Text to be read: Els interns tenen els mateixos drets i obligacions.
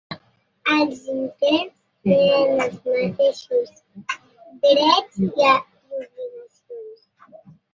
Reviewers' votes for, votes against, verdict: 0, 2, rejected